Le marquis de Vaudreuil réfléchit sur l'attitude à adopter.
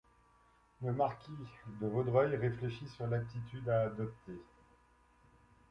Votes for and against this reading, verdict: 1, 2, rejected